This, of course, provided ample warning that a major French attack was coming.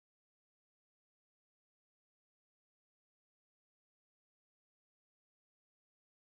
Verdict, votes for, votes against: rejected, 0, 2